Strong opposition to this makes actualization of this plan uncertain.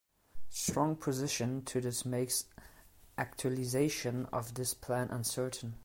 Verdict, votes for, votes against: rejected, 0, 2